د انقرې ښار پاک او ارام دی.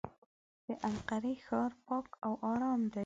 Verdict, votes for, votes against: accepted, 2, 0